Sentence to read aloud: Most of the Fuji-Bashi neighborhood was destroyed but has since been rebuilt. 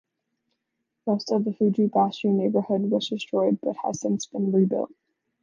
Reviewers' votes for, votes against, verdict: 2, 0, accepted